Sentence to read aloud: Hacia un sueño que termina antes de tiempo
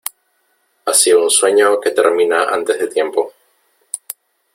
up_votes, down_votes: 3, 0